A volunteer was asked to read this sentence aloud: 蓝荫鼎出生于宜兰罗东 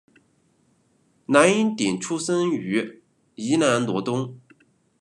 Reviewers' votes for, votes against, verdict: 1, 2, rejected